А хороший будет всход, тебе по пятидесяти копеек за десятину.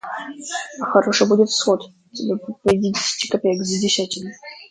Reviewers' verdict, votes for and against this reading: rejected, 0, 2